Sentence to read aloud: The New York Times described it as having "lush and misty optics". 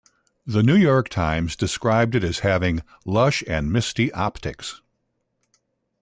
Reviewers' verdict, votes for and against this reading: accepted, 2, 0